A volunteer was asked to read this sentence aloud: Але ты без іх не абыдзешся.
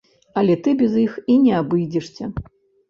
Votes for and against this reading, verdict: 0, 2, rejected